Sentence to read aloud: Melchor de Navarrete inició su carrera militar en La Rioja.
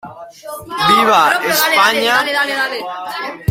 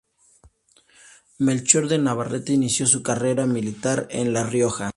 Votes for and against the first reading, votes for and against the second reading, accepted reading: 0, 2, 2, 0, second